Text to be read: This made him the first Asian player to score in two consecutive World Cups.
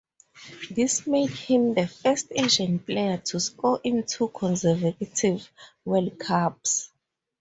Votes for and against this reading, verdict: 2, 0, accepted